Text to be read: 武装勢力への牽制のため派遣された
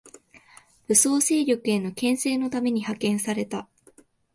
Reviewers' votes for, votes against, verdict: 1, 2, rejected